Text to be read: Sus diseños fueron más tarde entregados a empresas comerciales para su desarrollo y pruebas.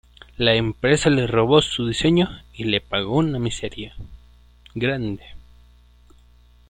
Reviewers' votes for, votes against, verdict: 0, 2, rejected